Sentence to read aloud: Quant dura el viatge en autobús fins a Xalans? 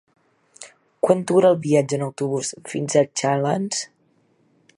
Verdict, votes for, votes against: accepted, 2, 0